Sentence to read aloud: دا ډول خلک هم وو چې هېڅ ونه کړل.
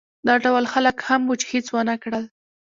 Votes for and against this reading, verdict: 0, 2, rejected